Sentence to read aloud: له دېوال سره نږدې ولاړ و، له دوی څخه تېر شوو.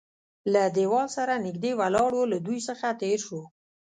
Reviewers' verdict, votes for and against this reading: rejected, 1, 2